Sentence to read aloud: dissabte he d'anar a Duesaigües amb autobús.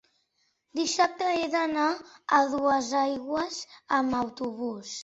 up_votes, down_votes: 1, 2